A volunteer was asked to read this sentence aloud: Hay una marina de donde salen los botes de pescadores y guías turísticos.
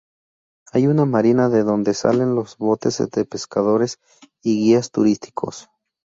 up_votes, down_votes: 2, 0